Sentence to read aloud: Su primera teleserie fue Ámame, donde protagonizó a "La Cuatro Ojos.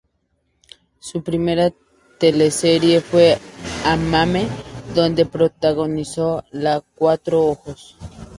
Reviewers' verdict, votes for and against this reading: rejected, 0, 2